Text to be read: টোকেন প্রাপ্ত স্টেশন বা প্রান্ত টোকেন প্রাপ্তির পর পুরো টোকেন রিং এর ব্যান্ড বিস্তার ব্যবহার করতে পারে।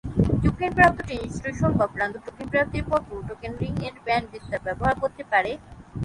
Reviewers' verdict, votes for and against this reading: rejected, 0, 3